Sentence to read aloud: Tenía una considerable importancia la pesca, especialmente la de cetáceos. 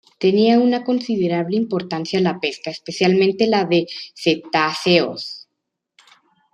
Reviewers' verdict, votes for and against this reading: accepted, 2, 0